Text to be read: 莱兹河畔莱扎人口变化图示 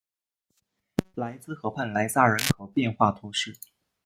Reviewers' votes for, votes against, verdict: 1, 2, rejected